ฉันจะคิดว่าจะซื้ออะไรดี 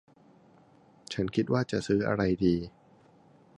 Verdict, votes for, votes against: accepted, 2, 0